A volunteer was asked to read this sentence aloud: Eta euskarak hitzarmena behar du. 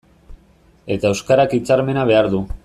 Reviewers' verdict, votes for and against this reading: accepted, 2, 1